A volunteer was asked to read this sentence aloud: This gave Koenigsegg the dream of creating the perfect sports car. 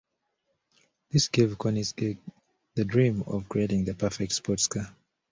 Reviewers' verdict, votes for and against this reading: rejected, 1, 2